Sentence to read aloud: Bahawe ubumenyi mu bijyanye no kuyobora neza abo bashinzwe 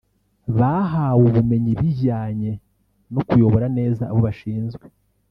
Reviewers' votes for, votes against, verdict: 2, 3, rejected